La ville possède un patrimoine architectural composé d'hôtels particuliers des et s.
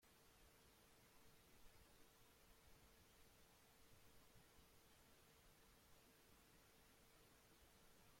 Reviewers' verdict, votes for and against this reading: rejected, 0, 2